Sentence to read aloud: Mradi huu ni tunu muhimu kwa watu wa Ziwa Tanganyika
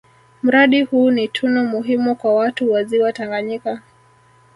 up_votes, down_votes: 0, 2